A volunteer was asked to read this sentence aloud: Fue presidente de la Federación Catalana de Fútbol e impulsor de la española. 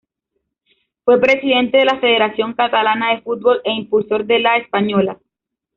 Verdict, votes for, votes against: accepted, 2, 1